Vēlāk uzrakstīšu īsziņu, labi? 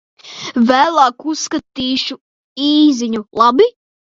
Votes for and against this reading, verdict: 0, 2, rejected